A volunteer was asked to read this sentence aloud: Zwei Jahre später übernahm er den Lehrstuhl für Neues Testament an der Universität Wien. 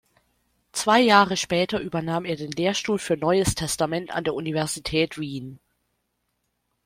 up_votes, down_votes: 2, 0